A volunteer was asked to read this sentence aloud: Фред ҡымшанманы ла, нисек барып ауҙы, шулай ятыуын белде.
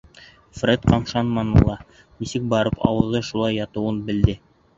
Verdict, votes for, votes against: rejected, 1, 2